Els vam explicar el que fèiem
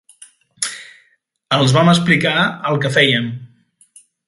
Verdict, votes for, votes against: accepted, 3, 0